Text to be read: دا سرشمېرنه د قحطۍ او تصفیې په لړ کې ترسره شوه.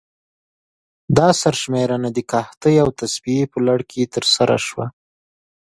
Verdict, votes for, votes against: accepted, 2, 0